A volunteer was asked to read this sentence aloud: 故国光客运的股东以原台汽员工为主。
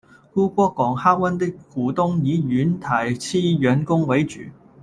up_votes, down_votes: 1, 2